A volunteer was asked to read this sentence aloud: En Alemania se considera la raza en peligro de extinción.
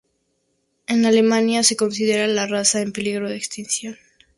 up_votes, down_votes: 2, 0